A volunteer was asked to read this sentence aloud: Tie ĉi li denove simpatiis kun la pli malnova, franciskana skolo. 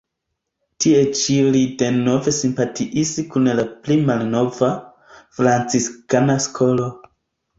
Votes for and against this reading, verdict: 1, 2, rejected